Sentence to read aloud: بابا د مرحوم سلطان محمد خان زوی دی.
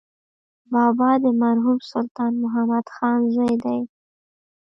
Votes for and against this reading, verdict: 0, 2, rejected